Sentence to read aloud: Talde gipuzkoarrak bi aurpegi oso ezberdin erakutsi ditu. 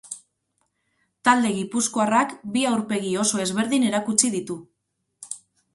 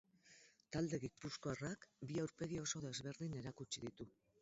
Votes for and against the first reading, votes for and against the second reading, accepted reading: 6, 0, 0, 6, first